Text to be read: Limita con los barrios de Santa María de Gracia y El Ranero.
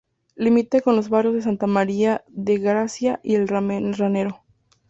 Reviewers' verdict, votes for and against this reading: rejected, 0, 4